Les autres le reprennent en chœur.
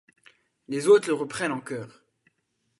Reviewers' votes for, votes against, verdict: 2, 0, accepted